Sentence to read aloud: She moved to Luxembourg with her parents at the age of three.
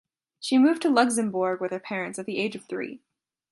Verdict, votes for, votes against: accepted, 2, 0